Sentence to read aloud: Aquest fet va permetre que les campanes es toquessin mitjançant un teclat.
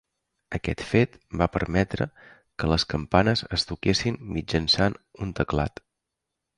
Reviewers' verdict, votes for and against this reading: accepted, 3, 0